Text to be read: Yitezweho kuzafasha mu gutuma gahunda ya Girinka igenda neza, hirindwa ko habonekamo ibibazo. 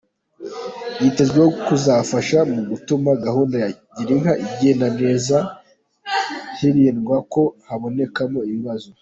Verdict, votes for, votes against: accepted, 2, 0